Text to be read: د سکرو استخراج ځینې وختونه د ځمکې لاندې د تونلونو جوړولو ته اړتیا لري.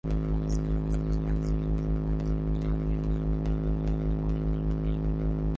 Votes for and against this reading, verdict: 0, 2, rejected